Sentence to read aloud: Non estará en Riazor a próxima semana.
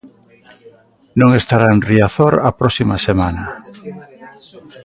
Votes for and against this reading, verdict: 7, 2, accepted